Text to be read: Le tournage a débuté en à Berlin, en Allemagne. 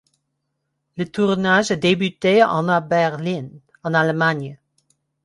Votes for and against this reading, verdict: 2, 0, accepted